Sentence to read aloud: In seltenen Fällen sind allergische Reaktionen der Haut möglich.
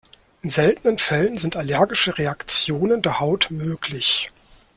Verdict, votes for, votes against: accepted, 2, 0